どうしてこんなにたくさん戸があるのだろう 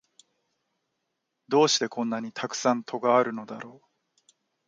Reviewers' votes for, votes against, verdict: 2, 0, accepted